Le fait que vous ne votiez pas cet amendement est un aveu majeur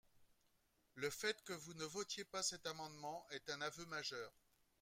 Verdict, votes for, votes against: accepted, 2, 0